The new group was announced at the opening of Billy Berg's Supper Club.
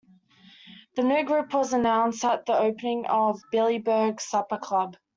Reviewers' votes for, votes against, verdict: 2, 0, accepted